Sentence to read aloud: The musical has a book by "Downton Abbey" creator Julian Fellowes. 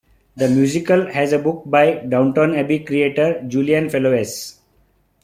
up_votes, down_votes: 2, 1